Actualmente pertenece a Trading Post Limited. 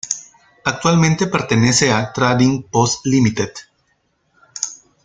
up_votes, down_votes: 1, 2